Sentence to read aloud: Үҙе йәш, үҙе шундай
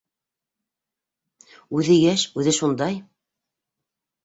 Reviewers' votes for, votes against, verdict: 2, 0, accepted